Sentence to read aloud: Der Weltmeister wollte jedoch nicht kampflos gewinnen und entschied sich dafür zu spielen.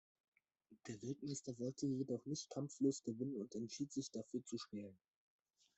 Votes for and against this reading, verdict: 0, 2, rejected